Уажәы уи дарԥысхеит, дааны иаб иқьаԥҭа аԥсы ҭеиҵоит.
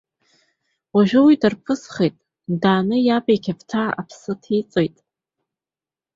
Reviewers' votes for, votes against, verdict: 2, 0, accepted